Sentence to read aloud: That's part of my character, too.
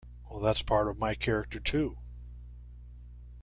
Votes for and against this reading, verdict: 1, 2, rejected